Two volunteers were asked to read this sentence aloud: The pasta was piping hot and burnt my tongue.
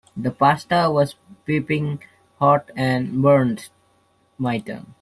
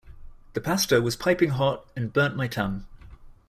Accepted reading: second